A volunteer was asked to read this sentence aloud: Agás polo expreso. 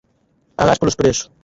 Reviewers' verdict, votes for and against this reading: rejected, 2, 4